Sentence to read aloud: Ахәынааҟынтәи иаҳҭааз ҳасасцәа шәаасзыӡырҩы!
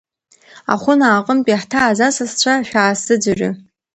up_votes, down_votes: 2, 1